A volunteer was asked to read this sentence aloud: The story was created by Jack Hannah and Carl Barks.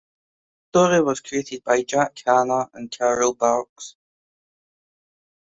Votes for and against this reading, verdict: 1, 2, rejected